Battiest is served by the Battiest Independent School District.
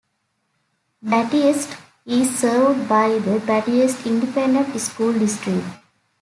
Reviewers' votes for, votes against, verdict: 2, 0, accepted